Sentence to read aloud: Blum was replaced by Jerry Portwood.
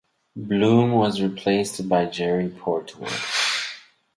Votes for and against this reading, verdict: 2, 4, rejected